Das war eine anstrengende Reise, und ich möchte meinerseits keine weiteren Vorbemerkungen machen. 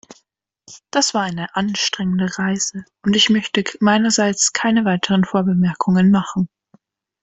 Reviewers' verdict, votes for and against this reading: accepted, 2, 1